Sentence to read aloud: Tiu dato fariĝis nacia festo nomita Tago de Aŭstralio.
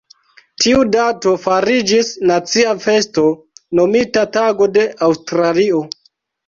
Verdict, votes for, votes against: accepted, 2, 1